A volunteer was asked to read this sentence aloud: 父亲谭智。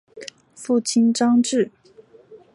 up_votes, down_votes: 1, 2